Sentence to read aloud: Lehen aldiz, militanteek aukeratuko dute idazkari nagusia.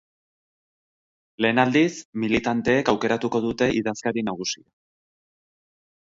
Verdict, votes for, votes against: rejected, 4, 4